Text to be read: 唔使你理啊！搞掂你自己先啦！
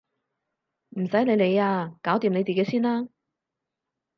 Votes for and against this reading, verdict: 2, 0, accepted